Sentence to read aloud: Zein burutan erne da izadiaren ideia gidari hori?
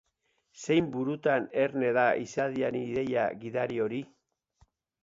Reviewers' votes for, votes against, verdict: 2, 2, rejected